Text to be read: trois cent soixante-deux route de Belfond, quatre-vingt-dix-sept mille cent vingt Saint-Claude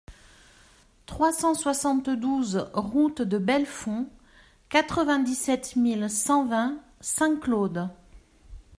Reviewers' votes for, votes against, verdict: 0, 2, rejected